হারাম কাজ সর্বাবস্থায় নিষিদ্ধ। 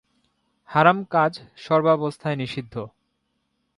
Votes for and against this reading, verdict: 9, 1, accepted